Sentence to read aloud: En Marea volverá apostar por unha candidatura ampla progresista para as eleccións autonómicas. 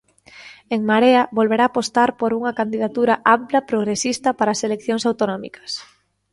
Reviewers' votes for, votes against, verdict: 2, 0, accepted